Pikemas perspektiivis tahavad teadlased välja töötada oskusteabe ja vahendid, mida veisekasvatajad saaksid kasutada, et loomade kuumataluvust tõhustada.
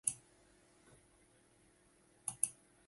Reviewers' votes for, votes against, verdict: 0, 2, rejected